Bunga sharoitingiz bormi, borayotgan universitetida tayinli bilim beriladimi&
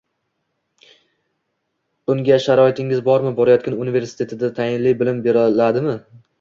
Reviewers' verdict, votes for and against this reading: rejected, 1, 2